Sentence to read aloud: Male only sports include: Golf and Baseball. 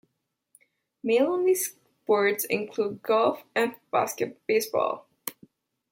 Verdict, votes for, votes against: rejected, 1, 2